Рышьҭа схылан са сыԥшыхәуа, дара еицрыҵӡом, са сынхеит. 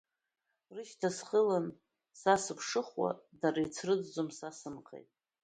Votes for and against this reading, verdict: 1, 2, rejected